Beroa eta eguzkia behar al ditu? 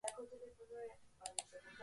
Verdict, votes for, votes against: rejected, 0, 2